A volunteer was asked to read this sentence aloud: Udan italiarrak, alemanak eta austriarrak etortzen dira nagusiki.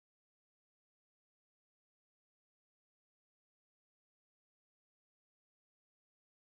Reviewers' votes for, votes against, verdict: 0, 2, rejected